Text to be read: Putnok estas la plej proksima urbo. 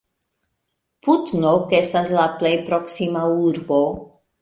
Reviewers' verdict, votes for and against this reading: rejected, 1, 2